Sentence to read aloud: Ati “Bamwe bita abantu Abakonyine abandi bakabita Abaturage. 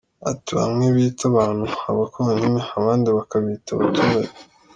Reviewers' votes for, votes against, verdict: 2, 0, accepted